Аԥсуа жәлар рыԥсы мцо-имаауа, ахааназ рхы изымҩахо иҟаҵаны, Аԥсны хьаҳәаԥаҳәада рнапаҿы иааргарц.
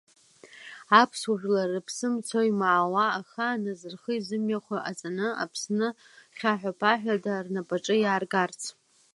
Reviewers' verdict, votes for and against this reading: accepted, 2, 0